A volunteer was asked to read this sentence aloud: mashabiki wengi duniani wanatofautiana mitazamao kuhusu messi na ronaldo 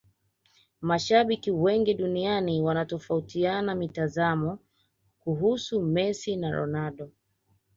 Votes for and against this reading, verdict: 2, 0, accepted